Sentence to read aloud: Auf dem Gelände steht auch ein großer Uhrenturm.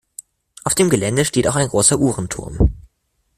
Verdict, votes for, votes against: accepted, 2, 0